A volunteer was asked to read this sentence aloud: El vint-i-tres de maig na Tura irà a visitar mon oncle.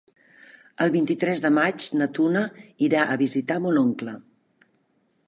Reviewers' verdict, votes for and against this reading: rejected, 1, 2